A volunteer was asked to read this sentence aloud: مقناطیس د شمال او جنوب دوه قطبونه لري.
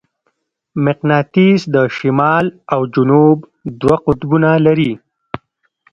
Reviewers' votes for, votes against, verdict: 1, 2, rejected